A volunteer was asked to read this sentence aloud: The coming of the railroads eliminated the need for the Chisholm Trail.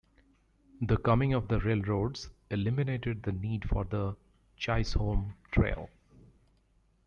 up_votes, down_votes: 1, 2